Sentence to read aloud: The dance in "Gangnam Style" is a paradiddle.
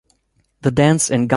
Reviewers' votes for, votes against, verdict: 0, 2, rejected